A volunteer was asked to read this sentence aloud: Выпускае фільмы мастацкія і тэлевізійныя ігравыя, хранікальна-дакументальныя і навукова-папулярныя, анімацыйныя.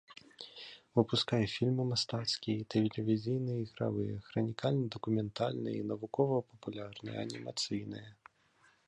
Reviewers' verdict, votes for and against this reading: rejected, 1, 2